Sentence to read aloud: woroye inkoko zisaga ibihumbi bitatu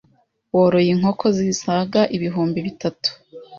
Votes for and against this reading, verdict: 2, 0, accepted